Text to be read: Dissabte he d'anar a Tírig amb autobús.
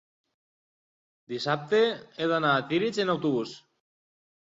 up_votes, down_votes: 2, 1